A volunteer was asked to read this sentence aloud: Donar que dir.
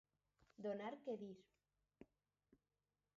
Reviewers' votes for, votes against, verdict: 4, 2, accepted